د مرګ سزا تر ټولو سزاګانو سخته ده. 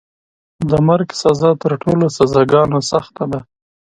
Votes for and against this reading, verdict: 2, 0, accepted